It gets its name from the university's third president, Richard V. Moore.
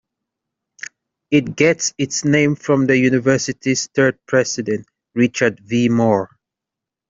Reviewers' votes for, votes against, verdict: 2, 0, accepted